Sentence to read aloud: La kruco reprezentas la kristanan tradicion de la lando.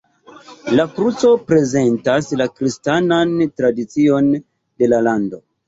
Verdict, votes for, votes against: rejected, 0, 2